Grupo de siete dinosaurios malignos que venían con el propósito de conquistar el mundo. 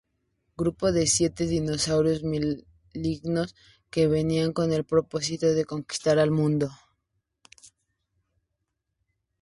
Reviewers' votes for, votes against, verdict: 2, 0, accepted